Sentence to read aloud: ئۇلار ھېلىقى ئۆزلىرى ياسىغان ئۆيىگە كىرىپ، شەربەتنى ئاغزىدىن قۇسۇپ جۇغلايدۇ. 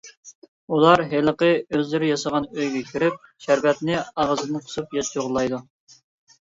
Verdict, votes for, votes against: rejected, 1, 2